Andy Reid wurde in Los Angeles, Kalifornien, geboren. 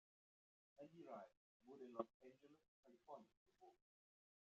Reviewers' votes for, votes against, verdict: 1, 2, rejected